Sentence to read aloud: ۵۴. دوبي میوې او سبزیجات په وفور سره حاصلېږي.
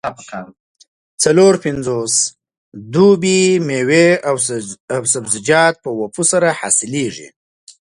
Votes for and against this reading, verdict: 0, 2, rejected